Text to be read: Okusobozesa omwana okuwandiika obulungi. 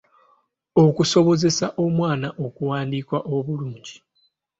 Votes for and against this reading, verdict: 2, 0, accepted